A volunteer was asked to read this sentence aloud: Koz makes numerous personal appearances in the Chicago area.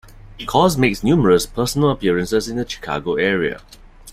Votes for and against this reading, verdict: 2, 0, accepted